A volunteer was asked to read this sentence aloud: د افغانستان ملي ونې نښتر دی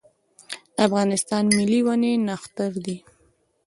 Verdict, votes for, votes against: accepted, 2, 1